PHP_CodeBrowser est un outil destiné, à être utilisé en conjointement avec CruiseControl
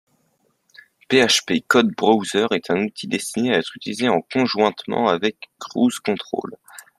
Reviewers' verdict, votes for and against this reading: rejected, 0, 2